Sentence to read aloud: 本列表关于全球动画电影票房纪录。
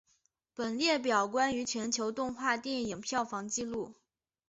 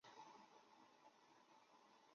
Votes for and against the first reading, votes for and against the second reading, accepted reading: 3, 1, 0, 3, first